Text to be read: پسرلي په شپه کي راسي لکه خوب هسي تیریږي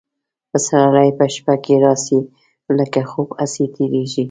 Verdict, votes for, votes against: accepted, 3, 0